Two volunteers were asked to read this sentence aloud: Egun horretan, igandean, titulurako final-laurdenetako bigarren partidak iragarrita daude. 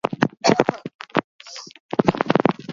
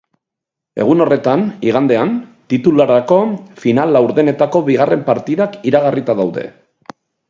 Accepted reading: second